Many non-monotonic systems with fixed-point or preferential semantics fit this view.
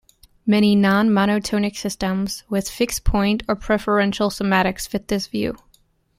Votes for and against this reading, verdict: 0, 2, rejected